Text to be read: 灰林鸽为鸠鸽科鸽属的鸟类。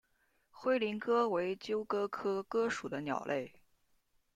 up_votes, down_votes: 2, 1